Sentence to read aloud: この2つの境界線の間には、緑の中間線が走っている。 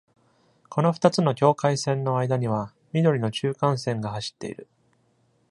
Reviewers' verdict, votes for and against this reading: rejected, 0, 2